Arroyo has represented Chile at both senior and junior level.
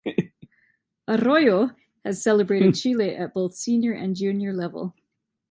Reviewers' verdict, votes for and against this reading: rejected, 0, 2